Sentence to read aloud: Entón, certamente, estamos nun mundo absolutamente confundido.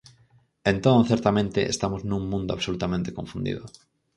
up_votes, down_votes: 4, 0